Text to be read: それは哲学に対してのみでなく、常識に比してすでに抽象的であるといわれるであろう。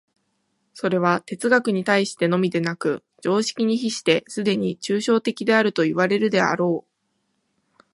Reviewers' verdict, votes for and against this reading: accepted, 2, 0